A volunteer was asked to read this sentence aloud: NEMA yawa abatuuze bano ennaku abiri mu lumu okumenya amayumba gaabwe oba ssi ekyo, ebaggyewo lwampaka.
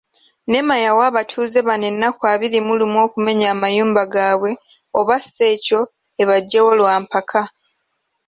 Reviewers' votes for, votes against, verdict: 2, 0, accepted